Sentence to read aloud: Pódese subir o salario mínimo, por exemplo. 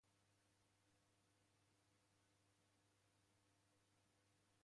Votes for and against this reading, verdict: 0, 2, rejected